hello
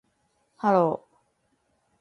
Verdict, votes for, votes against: accepted, 2, 0